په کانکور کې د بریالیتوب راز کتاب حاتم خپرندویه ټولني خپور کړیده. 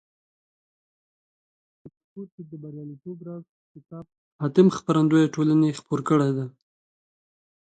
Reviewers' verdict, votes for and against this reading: rejected, 1, 2